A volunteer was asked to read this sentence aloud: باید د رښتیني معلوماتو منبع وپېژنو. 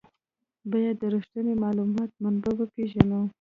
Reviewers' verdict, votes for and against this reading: rejected, 0, 2